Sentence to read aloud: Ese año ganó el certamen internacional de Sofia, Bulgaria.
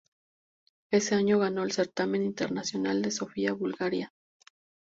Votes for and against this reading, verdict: 2, 0, accepted